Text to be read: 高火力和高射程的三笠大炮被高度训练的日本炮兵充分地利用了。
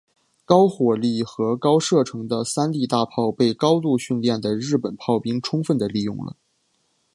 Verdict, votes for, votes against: accepted, 2, 0